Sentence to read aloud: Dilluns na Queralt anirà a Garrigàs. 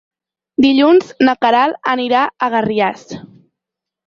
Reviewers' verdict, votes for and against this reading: rejected, 0, 4